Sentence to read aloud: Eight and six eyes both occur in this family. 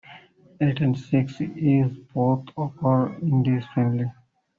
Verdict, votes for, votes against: rejected, 1, 2